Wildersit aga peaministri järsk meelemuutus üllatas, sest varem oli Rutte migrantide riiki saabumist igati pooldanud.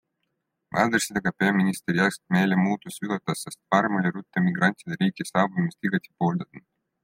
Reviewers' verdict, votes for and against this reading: rejected, 1, 2